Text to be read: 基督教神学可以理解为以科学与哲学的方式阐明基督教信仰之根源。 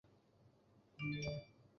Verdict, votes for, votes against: rejected, 0, 2